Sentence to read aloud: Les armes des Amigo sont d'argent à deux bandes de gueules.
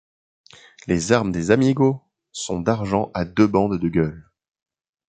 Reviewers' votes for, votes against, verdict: 2, 0, accepted